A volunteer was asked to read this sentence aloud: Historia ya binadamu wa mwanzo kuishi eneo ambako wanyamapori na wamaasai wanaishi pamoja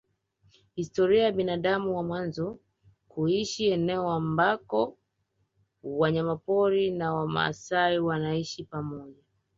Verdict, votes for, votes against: rejected, 1, 2